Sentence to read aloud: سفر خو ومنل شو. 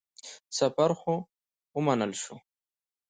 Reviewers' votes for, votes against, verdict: 2, 0, accepted